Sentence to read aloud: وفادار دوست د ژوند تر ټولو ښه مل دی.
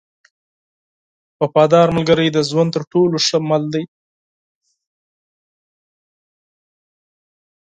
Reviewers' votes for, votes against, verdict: 0, 4, rejected